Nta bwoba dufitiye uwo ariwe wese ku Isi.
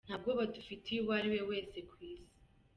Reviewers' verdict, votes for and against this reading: accepted, 2, 1